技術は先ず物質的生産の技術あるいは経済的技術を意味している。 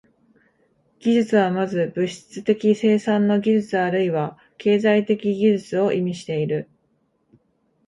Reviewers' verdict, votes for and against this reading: accepted, 2, 1